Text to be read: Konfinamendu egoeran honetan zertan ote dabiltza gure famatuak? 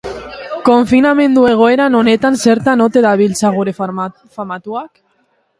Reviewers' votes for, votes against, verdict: 2, 4, rejected